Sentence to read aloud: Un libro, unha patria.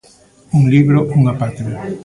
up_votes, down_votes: 0, 2